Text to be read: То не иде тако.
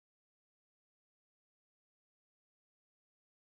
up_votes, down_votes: 0, 2